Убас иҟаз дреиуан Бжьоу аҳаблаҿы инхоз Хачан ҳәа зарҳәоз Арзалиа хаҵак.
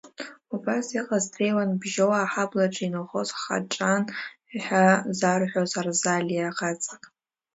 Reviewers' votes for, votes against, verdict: 0, 2, rejected